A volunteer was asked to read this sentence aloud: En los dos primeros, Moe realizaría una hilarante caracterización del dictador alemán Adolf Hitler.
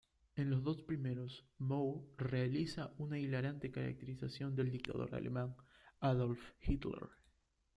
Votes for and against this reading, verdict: 1, 2, rejected